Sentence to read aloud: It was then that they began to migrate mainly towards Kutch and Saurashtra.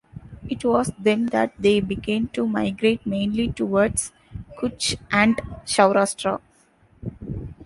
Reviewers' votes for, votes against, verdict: 0, 2, rejected